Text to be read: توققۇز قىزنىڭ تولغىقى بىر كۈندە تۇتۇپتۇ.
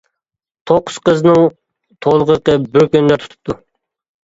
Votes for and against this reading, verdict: 2, 1, accepted